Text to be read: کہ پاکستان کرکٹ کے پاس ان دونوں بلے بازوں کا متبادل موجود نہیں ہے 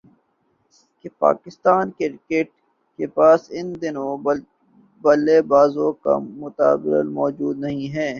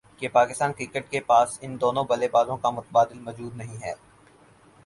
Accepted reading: second